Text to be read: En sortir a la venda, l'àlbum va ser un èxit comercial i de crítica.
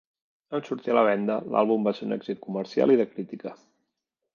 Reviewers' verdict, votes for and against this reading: accepted, 2, 0